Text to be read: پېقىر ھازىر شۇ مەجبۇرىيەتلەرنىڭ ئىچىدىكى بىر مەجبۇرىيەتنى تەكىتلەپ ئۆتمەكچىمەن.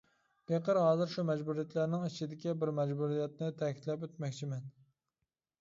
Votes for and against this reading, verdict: 2, 0, accepted